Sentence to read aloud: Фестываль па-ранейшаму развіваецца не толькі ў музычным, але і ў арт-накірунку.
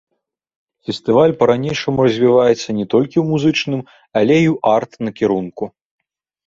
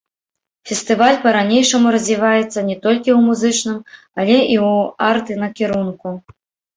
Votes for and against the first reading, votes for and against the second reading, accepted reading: 2, 0, 1, 2, first